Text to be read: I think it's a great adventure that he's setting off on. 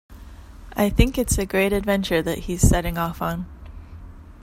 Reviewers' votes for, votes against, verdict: 2, 0, accepted